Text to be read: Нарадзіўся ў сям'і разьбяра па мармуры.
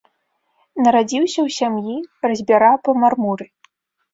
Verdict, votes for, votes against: accepted, 2, 0